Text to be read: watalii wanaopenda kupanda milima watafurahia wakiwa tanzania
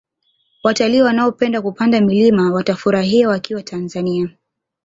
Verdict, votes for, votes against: accepted, 2, 0